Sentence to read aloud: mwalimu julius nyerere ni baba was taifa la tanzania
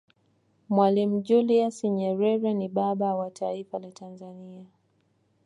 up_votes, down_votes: 2, 0